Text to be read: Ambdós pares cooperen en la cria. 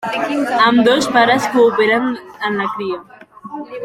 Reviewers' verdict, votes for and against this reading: accepted, 3, 1